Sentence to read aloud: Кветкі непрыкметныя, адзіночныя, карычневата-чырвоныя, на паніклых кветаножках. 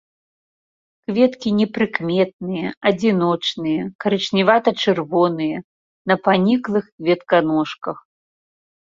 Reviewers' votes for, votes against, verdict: 0, 2, rejected